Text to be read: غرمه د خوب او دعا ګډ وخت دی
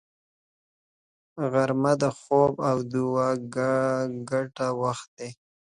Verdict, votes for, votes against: accepted, 2, 0